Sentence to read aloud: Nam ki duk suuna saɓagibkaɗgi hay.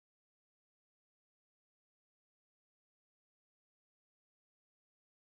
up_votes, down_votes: 0, 2